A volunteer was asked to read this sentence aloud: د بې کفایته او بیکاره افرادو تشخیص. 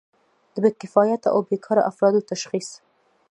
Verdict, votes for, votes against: rejected, 1, 2